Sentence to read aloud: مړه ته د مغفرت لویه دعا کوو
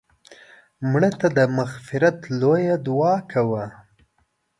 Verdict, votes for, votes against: rejected, 1, 2